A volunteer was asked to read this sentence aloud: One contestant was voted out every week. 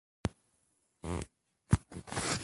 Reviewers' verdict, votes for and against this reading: rejected, 0, 2